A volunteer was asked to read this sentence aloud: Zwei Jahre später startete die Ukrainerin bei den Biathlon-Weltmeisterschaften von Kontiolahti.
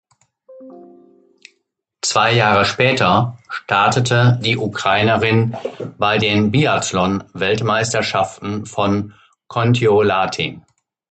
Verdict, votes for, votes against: rejected, 0, 2